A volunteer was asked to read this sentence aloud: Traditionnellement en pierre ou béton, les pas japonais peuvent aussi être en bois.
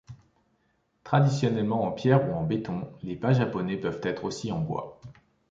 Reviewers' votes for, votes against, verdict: 1, 2, rejected